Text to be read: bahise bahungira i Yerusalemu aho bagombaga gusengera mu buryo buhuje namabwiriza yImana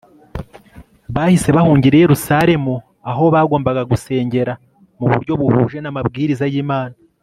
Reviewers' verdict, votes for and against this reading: accepted, 3, 0